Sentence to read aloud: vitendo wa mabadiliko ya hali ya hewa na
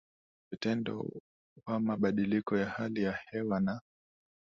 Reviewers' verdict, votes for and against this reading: accepted, 2, 0